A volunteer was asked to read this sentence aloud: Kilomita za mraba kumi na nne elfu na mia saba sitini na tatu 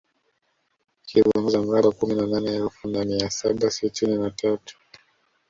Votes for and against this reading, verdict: 1, 2, rejected